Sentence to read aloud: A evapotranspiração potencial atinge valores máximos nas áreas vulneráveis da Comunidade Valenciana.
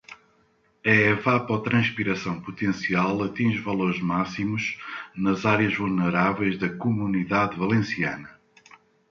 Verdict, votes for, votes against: accepted, 2, 0